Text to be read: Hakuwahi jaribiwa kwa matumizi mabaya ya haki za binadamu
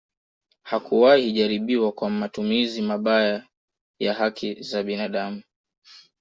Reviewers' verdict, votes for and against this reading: accepted, 2, 0